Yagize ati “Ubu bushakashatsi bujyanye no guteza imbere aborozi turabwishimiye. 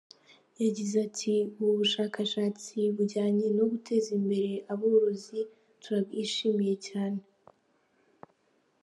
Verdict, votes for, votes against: accepted, 2, 1